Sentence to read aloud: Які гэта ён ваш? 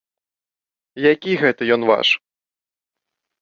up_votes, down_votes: 2, 0